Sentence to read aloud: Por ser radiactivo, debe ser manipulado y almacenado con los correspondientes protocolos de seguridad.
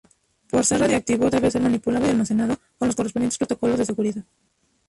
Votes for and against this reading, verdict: 0, 4, rejected